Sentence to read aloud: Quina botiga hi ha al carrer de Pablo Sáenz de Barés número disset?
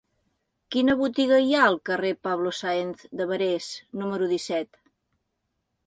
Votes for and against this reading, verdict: 0, 2, rejected